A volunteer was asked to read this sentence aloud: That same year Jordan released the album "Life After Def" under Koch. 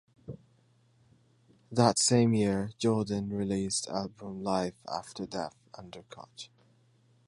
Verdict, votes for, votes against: rejected, 1, 3